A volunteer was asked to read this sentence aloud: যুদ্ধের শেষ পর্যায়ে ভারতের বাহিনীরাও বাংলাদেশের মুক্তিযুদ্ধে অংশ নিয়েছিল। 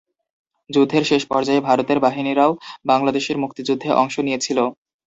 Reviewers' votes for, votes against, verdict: 2, 0, accepted